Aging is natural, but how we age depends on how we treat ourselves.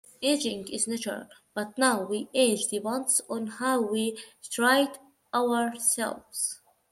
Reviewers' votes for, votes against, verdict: 0, 2, rejected